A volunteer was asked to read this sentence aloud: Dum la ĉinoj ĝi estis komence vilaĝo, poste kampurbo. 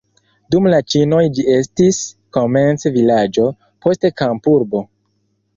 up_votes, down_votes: 2, 1